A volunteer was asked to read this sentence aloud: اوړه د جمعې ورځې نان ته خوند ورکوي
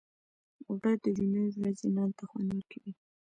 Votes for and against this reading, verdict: 1, 2, rejected